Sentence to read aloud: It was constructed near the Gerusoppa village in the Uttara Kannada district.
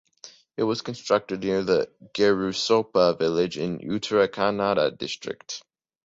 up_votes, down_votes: 2, 1